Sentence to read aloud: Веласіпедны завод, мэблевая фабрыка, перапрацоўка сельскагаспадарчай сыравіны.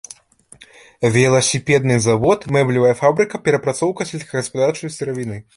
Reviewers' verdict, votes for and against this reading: rejected, 1, 2